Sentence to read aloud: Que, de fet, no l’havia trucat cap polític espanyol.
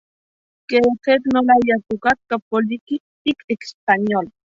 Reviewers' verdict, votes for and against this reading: rejected, 0, 3